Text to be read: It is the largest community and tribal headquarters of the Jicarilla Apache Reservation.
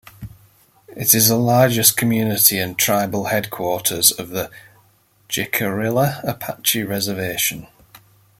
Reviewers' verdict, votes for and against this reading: accepted, 2, 0